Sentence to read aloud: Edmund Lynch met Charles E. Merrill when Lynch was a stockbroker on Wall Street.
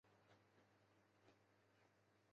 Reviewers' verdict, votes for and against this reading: rejected, 0, 2